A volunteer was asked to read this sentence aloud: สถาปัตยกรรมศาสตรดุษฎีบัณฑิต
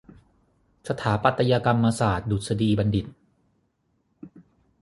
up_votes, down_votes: 6, 3